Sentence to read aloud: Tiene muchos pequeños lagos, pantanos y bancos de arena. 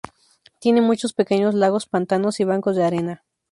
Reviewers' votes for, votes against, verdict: 2, 0, accepted